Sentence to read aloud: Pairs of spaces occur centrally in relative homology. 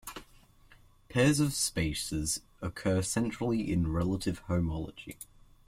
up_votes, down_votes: 2, 0